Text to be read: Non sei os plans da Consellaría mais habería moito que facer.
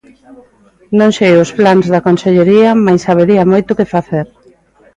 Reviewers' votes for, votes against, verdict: 1, 2, rejected